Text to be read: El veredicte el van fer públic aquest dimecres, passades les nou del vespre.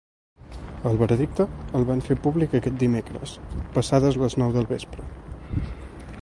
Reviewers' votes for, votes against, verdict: 4, 1, accepted